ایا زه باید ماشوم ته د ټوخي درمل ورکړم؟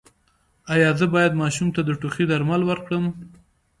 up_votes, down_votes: 2, 0